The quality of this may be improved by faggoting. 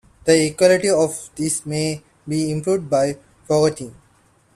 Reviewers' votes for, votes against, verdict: 0, 2, rejected